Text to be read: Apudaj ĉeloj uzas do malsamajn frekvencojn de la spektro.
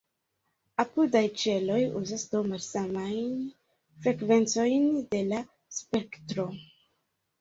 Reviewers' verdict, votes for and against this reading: accepted, 2, 0